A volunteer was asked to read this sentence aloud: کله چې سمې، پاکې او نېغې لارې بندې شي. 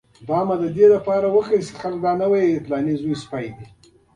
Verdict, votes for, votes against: accepted, 2, 1